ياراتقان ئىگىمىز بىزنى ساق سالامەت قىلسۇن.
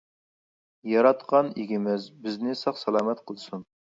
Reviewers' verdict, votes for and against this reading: accepted, 2, 0